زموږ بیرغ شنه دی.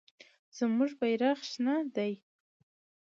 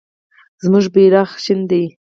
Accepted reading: first